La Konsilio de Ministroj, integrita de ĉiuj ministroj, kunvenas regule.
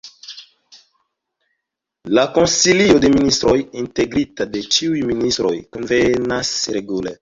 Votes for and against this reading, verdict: 2, 1, accepted